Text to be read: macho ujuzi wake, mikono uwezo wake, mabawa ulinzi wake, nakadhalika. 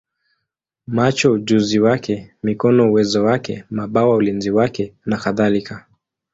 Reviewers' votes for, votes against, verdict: 2, 0, accepted